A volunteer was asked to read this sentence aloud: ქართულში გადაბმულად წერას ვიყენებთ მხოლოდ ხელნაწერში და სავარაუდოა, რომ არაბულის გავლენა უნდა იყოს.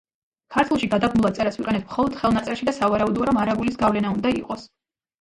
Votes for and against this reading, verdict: 0, 2, rejected